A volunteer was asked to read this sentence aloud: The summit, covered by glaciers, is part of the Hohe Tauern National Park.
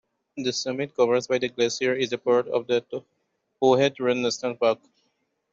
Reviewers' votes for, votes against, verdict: 0, 2, rejected